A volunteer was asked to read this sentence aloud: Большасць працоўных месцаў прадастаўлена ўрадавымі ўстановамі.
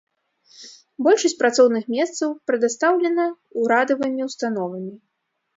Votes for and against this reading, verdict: 0, 2, rejected